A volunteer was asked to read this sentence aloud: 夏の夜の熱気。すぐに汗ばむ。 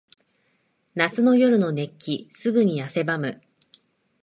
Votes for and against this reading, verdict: 2, 0, accepted